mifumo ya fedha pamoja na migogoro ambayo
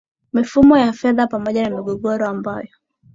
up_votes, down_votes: 2, 0